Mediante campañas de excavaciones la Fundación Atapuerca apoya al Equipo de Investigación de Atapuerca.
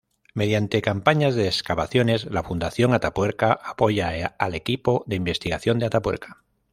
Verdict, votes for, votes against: accepted, 2, 0